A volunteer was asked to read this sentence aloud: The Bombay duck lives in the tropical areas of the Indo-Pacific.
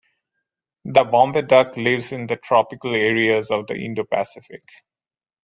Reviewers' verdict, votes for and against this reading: accepted, 2, 0